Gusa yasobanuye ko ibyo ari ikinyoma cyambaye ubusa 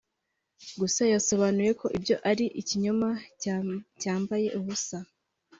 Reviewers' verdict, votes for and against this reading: rejected, 2, 3